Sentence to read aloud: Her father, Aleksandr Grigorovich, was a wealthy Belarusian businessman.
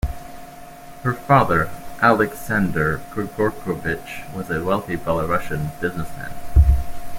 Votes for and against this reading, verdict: 2, 0, accepted